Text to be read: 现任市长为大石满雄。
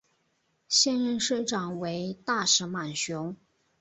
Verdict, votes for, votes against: accepted, 2, 0